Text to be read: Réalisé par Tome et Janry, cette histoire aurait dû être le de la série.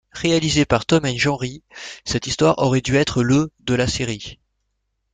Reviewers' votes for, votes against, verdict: 2, 0, accepted